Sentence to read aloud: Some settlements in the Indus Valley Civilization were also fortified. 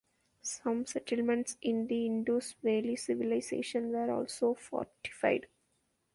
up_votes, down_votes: 1, 2